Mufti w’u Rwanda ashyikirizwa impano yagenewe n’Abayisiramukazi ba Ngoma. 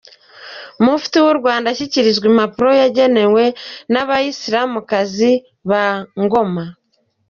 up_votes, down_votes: 2, 1